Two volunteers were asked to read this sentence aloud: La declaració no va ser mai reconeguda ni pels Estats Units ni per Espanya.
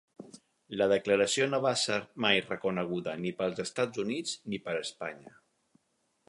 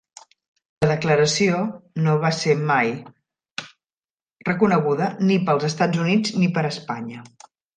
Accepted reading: first